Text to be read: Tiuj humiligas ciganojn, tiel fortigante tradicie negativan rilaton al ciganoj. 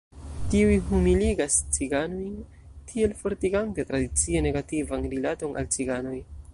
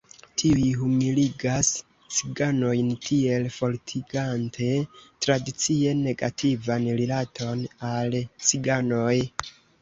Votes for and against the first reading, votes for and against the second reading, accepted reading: 1, 2, 2, 0, second